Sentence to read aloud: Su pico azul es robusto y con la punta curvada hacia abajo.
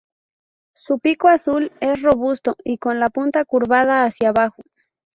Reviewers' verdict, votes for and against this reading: rejected, 0, 2